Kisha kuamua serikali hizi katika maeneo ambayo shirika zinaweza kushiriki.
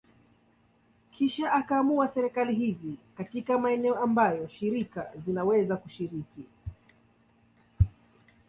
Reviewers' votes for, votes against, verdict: 0, 2, rejected